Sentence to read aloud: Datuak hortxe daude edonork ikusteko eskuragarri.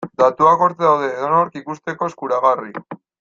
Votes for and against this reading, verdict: 1, 2, rejected